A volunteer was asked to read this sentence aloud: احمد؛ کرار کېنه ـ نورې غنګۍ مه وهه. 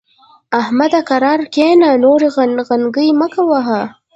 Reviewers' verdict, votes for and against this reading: rejected, 1, 2